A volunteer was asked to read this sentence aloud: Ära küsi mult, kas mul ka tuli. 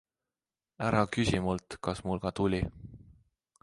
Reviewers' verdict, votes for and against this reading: accepted, 2, 0